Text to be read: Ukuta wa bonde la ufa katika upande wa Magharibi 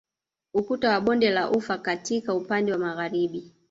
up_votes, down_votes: 2, 0